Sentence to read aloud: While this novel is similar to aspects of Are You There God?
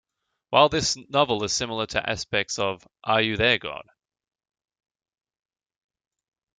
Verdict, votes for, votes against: rejected, 1, 2